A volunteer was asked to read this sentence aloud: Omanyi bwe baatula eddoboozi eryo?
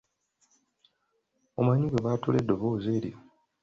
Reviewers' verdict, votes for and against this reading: accepted, 2, 0